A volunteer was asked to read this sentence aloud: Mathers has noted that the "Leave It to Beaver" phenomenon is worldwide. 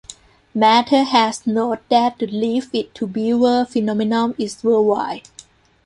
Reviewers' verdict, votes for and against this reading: rejected, 1, 2